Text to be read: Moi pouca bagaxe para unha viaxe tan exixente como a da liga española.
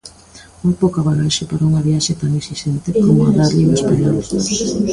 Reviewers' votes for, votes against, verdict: 0, 2, rejected